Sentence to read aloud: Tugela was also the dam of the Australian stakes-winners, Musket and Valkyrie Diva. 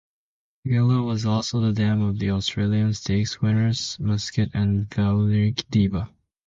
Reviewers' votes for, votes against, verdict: 0, 2, rejected